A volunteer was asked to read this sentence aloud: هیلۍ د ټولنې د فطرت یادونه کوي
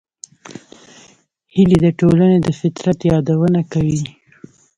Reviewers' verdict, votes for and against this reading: rejected, 1, 2